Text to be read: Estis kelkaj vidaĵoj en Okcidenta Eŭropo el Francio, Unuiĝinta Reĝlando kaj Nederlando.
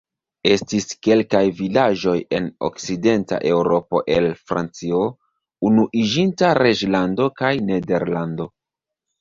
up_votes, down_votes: 2, 1